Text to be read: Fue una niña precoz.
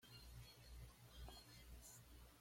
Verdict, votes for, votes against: rejected, 1, 2